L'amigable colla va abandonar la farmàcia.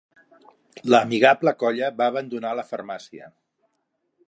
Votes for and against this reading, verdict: 4, 0, accepted